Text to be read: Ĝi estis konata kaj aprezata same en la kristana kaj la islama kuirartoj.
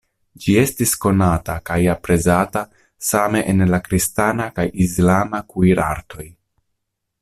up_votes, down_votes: 1, 2